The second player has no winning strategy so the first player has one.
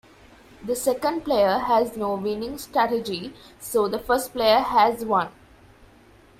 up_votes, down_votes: 2, 0